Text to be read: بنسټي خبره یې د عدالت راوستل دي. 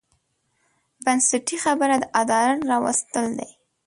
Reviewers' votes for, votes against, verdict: 3, 0, accepted